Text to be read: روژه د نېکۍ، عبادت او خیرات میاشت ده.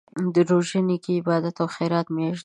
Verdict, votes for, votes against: rejected, 0, 2